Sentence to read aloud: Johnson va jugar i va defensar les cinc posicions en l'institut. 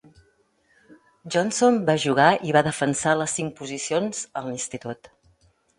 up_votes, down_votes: 2, 0